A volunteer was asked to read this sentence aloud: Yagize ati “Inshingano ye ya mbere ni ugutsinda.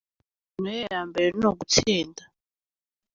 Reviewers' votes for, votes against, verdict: 0, 2, rejected